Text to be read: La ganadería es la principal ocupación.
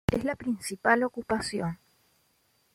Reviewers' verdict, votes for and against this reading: rejected, 0, 2